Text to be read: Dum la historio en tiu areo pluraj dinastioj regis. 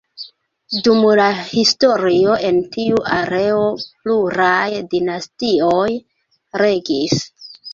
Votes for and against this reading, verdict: 0, 2, rejected